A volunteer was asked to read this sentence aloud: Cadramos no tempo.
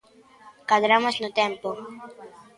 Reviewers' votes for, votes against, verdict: 1, 2, rejected